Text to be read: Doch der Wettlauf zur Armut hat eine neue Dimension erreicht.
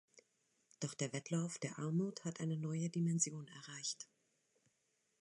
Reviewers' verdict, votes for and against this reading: rejected, 0, 2